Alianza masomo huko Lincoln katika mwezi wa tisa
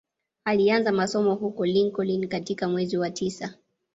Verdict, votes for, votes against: rejected, 1, 2